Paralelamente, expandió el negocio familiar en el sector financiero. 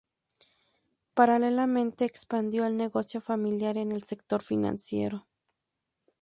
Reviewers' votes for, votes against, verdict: 2, 0, accepted